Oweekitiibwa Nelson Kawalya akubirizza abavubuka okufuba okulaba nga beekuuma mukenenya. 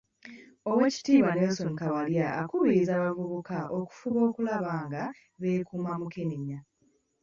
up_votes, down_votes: 2, 0